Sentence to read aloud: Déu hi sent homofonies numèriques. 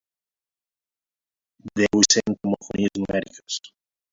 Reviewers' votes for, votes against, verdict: 0, 2, rejected